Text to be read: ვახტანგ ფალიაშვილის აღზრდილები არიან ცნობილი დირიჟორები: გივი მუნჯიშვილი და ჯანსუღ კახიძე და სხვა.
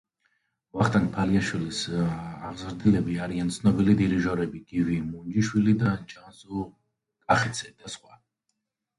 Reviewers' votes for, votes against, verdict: 1, 2, rejected